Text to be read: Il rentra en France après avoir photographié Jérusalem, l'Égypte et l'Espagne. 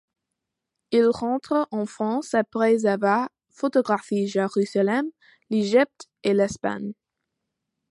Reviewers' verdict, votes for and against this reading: rejected, 1, 2